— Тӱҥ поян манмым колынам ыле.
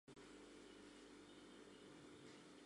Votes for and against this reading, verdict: 0, 5, rejected